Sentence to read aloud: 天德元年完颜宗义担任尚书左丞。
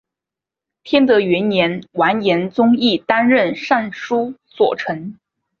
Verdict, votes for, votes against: accepted, 2, 0